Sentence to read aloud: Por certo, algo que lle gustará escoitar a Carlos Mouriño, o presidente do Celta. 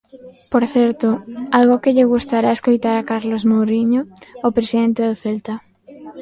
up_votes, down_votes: 2, 0